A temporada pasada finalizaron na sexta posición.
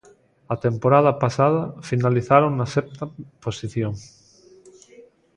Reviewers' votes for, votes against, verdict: 0, 2, rejected